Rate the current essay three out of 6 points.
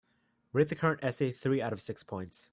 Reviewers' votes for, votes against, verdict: 0, 2, rejected